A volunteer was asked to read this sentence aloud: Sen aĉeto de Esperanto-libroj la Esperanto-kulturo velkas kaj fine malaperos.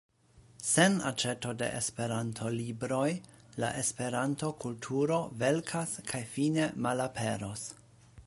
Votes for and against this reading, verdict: 2, 0, accepted